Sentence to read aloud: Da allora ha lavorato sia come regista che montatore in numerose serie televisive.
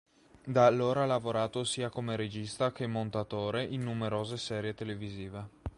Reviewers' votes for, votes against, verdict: 3, 0, accepted